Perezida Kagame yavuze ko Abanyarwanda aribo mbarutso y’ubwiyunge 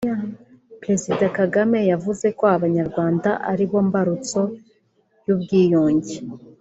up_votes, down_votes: 3, 0